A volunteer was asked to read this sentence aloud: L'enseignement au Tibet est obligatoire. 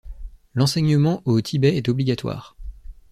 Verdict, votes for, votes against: accepted, 2, 0